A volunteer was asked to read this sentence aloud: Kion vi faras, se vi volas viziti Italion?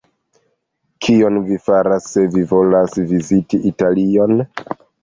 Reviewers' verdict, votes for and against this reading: accepted, 2, 1